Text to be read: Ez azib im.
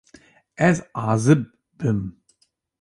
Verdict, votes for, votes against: rejected, 1, 2